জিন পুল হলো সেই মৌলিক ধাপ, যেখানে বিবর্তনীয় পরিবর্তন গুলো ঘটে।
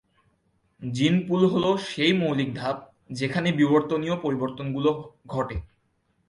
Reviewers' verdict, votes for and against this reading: accepted, 2, 0